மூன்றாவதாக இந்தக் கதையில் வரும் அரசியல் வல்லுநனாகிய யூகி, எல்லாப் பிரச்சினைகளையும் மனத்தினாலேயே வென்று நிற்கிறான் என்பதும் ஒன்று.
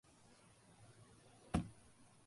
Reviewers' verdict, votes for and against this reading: rejected, 0, 2